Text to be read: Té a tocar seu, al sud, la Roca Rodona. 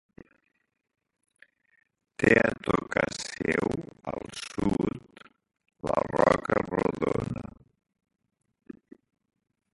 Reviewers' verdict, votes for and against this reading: rejected, 2, 4